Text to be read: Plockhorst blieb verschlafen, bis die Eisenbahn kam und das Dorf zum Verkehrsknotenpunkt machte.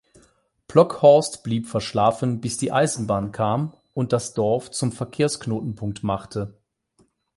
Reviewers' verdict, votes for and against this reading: accepted, 8, 0